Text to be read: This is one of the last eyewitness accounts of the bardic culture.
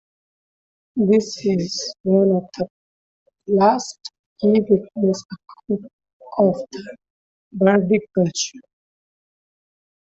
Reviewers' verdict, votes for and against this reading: rejected, 1, 2